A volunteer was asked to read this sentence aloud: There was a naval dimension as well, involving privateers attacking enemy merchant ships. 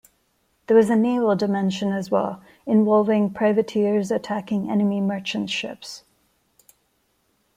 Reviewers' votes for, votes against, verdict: 1, 2, rejected